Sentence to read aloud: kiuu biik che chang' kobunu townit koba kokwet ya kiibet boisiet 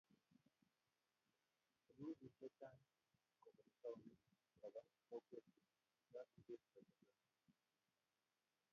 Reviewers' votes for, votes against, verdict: 1, 2, rejected